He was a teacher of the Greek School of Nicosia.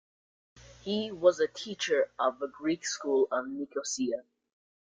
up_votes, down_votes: 2, 0